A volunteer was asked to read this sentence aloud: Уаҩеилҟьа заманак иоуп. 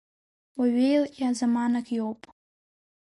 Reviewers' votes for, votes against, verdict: 2, 0, accepted